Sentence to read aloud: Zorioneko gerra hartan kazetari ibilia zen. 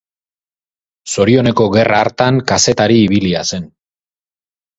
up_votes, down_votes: 2, 2